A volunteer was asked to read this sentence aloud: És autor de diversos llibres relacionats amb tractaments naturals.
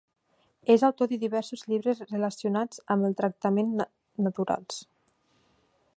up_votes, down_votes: 1, 2